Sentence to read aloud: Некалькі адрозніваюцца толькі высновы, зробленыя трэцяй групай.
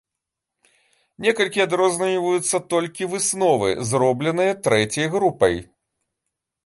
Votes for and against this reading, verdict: 1, 2, rejected